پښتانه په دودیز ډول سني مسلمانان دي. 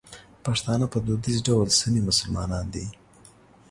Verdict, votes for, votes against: accepted, 2, 0